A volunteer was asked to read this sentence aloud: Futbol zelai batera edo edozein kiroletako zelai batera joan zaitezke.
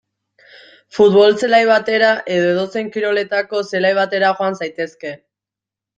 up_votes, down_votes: 2, 0